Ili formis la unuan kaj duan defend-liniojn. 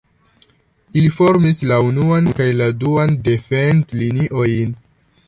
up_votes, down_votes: 1, 2